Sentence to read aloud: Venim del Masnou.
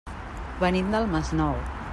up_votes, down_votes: 3, 0